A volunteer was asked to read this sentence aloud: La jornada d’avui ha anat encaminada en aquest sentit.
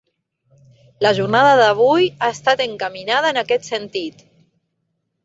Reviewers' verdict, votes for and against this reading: rejected, 0, 4